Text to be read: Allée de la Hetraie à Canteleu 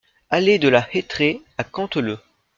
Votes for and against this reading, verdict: 2, 0, accepted